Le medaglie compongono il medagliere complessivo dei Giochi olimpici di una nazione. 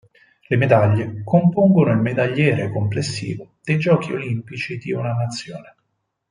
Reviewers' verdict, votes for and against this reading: accepted, 4, 0